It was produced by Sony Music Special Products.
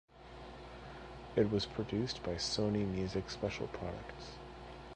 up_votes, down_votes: 2, 1